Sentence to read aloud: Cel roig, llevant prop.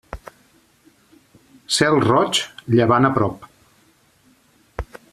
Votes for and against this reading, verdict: 0, 2, rejected